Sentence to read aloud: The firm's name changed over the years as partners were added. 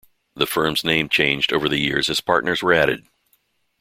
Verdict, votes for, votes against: accepted, 2, 1